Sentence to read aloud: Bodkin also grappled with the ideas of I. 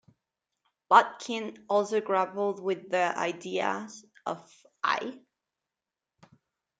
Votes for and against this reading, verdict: 4, 2, accepted